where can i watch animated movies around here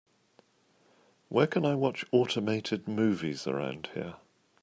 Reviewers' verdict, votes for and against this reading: rejected, 1, 2